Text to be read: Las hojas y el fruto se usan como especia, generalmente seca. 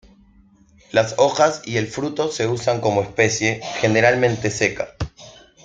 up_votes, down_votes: 0, 2